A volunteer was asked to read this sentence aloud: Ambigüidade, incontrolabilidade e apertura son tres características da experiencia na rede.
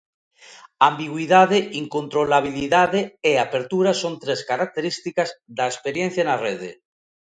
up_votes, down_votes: 2, 0